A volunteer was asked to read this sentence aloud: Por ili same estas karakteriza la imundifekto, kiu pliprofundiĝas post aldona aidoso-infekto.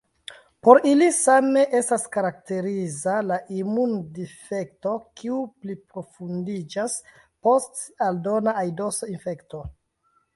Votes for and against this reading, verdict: 0, 2, rejected